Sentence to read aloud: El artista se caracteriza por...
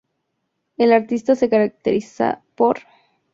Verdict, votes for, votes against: accepted, 2, 0